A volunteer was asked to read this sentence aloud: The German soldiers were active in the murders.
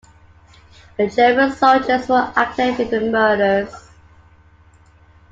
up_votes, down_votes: 2, 1